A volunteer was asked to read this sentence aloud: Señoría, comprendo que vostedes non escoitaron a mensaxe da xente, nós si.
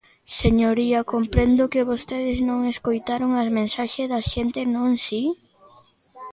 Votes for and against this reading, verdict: 0, 2, rejected